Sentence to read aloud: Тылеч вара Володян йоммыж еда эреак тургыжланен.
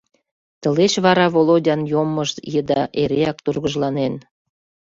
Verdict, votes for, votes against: accepted, 2, 0